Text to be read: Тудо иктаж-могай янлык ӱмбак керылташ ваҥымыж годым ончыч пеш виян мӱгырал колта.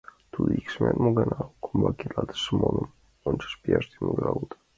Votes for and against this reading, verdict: 1, 2, rejected